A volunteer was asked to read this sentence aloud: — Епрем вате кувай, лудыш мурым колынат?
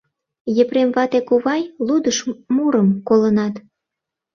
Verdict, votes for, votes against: rejected, 0, 2